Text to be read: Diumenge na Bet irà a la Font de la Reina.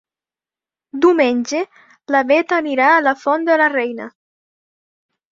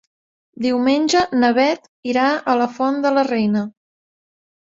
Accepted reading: second